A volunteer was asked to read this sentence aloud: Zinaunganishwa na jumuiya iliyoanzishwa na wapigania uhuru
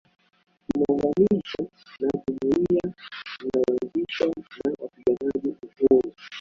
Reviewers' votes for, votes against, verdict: 0, 2, rejected